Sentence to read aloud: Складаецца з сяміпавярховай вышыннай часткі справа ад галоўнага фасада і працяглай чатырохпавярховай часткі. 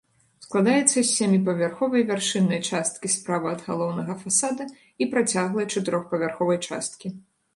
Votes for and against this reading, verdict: 1, 2, rejected